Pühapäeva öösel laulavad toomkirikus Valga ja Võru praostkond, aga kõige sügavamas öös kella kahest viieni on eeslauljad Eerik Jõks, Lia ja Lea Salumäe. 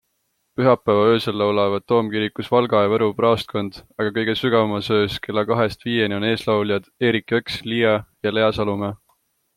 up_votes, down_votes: 2, 0